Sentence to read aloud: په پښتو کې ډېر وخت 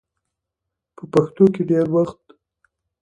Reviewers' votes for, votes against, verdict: 2, 0, accepted